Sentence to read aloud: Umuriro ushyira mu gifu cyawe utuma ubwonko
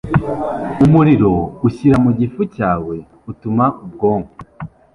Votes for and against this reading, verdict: 3, 1, accepted